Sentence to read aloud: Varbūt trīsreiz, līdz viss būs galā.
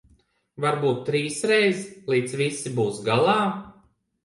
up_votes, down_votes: 0, 2